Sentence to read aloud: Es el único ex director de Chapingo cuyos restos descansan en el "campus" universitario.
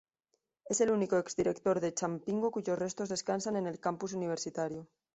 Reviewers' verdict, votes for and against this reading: rejected, 1, 2